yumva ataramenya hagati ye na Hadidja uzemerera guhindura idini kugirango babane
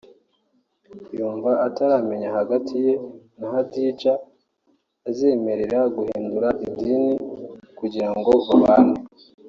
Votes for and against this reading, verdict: 3, 1, accepted